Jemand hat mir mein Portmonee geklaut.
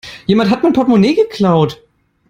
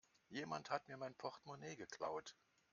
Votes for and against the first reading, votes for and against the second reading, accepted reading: 0, 2, 2, 0, second